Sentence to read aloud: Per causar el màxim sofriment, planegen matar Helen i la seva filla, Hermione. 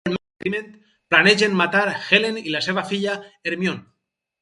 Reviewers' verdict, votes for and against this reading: rejected, 0, 4